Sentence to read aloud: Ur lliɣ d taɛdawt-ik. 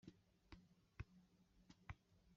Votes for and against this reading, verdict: 1, 2, rejected